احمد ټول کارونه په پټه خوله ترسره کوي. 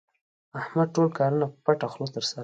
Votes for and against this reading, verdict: 1, 2, rejected